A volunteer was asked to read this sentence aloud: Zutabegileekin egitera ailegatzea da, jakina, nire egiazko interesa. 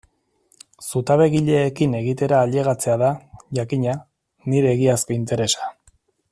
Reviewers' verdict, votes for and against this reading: accepted, 2, 0